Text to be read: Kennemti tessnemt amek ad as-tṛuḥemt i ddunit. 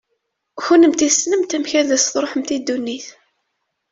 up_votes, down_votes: 2, 0